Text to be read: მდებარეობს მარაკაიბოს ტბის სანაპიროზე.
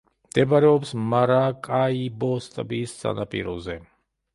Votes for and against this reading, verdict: 0, 2, rejected